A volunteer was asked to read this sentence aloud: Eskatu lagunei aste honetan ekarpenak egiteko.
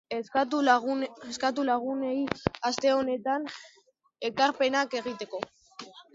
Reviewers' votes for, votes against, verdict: 1, 2, rejected